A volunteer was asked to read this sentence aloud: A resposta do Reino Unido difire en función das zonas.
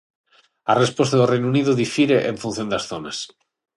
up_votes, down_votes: 6, 0